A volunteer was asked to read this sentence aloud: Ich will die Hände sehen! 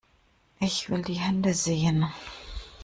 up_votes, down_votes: 2, 0